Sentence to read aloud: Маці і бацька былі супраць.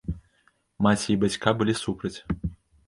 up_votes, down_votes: 0, 2